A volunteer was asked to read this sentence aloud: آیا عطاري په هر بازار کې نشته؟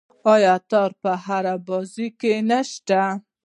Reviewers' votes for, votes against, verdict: 1, 2, rejected